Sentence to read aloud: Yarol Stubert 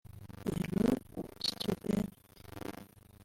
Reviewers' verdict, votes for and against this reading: rejected, 0, 2